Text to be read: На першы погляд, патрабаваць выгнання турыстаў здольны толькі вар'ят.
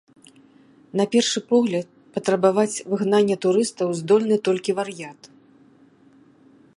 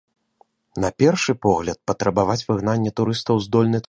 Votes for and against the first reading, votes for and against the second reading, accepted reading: 2, 0, 0, 2, first